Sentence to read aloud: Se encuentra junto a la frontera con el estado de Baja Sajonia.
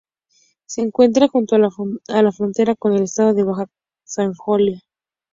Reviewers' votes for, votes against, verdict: 0, 4, rejected